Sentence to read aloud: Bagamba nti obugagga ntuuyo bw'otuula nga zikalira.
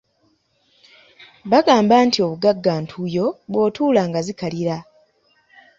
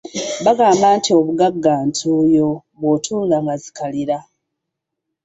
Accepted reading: first